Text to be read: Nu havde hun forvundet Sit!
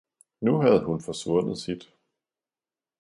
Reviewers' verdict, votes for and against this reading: rejected, 1, 2